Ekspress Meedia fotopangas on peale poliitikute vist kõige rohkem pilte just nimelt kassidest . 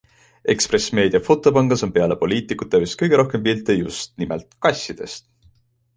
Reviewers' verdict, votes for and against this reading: accepted, 2, 0